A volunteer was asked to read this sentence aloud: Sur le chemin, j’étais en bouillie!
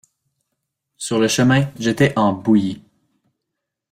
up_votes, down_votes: 2, 0